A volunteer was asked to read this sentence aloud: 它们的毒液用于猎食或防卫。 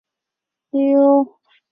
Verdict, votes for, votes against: rejected, 0, 4